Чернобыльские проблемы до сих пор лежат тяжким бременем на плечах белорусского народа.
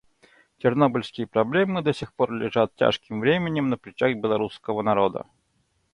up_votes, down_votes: 2, 0